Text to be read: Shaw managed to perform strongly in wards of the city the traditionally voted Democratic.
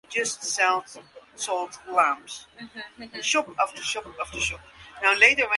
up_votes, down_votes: 0, 2